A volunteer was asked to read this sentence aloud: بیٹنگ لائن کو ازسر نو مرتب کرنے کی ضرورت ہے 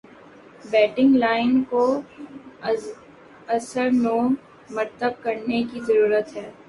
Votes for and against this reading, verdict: 1, 2, rejected